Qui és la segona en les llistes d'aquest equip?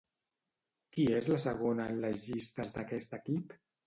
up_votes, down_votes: 2, 0